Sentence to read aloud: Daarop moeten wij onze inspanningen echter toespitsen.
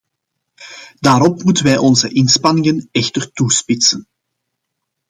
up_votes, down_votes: 2, 0